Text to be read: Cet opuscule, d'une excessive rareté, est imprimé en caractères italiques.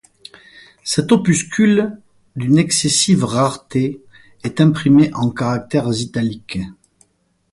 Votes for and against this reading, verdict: 4, 0, accepted